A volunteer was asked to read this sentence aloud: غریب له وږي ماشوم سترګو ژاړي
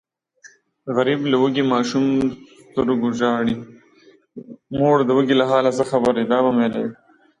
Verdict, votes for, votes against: rejected, 0, 2